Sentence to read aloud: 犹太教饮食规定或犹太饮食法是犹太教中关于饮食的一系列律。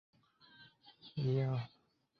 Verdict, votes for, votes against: rejected, 0, 2